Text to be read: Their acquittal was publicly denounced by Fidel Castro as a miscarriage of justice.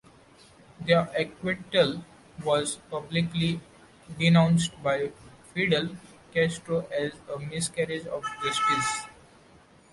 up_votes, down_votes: 2, 0